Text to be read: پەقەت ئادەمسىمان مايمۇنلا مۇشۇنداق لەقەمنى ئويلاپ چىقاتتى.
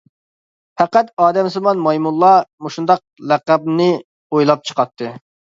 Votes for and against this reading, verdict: 2, 0, accepted